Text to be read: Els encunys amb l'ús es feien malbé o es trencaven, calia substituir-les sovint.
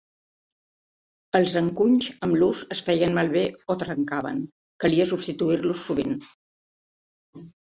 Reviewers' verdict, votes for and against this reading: rejected, 0, 2